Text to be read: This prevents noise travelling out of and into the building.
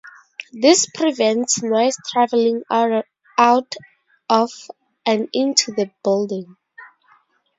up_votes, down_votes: 0, 2